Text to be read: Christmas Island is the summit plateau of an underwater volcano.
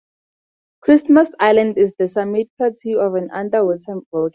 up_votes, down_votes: 2, 0